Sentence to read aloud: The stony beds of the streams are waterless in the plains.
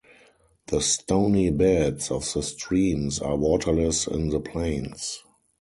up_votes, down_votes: 4, 0